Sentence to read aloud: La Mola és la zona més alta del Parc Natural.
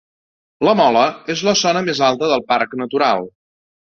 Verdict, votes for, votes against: accepted, 2, 0